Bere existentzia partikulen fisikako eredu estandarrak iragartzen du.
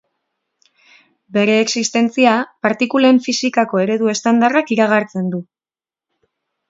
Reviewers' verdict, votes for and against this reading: accepted, 2, 0